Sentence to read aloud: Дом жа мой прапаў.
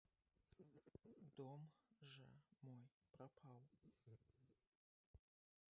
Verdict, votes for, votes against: rejected, 0, 2